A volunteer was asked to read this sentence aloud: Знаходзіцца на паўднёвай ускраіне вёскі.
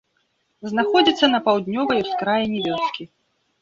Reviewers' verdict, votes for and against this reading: rejected, 0, 2